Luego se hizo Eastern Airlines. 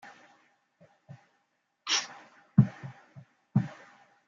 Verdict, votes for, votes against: rejected, 0, 2